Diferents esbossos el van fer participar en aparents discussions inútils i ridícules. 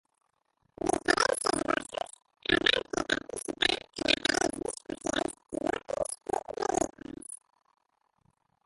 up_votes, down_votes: 0, 3